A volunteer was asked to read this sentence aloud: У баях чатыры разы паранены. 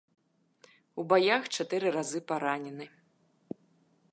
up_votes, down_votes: 2, 0